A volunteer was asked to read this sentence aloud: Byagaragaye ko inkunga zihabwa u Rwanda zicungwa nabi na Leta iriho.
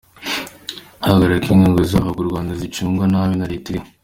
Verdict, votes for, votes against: accepted, 2, 0